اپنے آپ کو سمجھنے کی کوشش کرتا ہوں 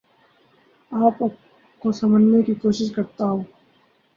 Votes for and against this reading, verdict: 0, 2, rejected